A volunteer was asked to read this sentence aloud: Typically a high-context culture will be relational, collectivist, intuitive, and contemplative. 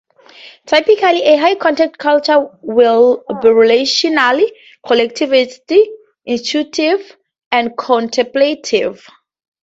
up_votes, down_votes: 0, 2